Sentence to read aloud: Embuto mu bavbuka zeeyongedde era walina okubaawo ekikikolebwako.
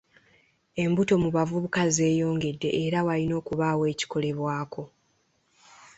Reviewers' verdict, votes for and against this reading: accepted, 2, 1